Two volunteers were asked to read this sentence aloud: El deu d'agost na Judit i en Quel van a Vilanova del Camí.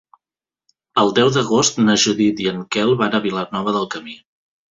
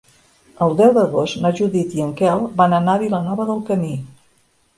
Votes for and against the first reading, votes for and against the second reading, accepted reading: 2, 0, 1, 3, first